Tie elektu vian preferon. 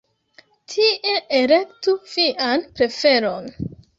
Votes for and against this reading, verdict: 1, 3, rejected